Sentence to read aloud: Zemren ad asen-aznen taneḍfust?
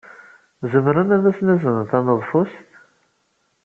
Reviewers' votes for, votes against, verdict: 2, 1, accepted